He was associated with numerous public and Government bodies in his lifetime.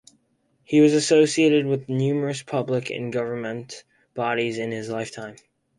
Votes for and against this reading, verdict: 4, 0, accepted